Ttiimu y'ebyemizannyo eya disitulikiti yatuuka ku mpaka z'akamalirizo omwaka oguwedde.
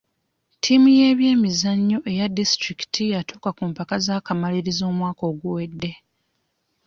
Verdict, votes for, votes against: accepted, 2, 0